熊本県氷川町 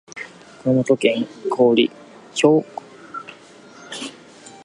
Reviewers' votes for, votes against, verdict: 0, 2, rejected